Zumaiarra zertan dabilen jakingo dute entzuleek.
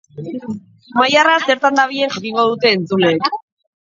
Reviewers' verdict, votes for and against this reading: rejected, 0, 3